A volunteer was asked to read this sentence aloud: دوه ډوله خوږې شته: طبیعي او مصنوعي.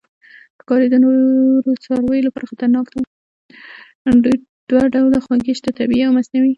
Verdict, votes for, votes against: rejected, 1, 2